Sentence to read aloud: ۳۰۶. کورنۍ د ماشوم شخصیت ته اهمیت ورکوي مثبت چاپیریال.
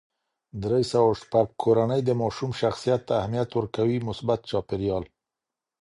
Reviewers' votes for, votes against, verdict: 0, 2, rejected